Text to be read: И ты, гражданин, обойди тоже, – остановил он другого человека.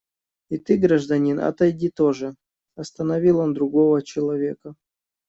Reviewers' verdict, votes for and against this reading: rejected, 1, 2